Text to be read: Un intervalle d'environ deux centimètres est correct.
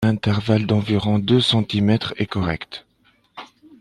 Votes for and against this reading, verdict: 1, 2, rejected